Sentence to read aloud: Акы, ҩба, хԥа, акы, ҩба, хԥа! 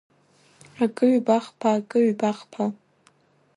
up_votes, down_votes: 0, 2